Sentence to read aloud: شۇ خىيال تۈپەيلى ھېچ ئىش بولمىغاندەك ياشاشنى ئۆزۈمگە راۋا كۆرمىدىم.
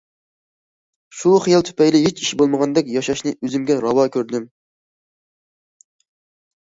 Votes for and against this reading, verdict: 0, 2, rejected